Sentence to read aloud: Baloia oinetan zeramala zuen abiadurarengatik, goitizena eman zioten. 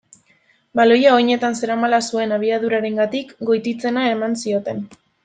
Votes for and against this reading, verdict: 0, 2, rejected